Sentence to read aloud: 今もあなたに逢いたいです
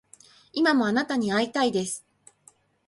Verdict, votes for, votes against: accepted, 4, 2